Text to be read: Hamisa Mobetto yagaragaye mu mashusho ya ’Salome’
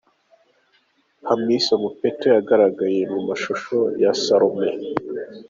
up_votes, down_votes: 2, 0